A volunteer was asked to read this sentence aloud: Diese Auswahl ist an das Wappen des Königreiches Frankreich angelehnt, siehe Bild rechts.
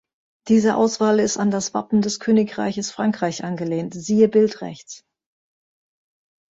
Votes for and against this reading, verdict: 2, 0, accepted